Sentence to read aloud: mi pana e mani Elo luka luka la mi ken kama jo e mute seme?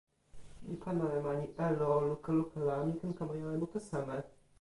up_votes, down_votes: 1, 2